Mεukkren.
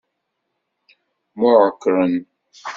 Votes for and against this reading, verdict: 0, 2, rejected